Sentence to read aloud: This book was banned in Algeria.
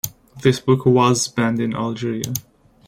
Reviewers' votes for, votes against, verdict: 2, 0, accepted